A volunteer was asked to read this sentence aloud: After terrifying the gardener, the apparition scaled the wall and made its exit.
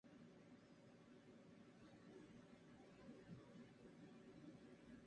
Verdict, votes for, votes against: rejected, 0, 2